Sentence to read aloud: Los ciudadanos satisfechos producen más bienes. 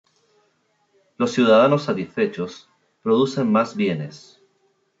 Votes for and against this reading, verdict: 0, 2, rejected